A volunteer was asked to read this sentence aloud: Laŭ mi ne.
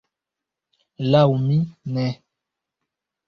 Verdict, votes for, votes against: rejected, 1, 2